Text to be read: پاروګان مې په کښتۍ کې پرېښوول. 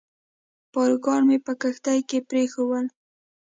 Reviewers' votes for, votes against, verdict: 0, 2, rejected